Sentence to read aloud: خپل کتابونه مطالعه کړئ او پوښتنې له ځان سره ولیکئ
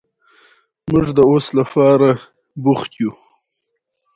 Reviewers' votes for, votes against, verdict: 2, 1, accepted